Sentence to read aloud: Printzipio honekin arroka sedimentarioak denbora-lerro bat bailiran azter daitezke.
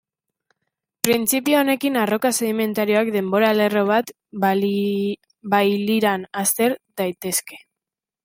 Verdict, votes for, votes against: rejected, 1, 2